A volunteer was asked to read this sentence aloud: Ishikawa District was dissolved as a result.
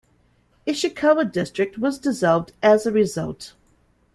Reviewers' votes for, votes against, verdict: 2, 0, accepted